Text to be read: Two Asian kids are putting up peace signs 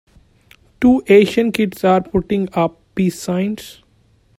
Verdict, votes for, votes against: accepted, 2, 1